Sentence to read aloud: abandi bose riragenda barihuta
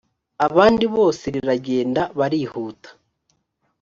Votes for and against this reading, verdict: 4, 1, accepted